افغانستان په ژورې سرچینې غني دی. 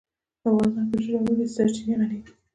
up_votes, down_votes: 1, 2